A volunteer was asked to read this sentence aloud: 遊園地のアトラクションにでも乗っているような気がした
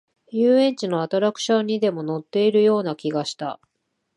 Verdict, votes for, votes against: accepted, 2, 0